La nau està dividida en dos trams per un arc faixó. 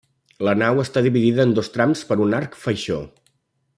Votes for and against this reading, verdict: 2, 0, accepted